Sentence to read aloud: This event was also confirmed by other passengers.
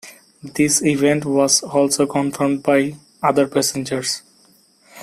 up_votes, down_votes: 2, 0